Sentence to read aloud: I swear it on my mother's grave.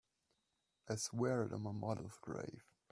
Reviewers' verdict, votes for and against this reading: rejected, 1, 2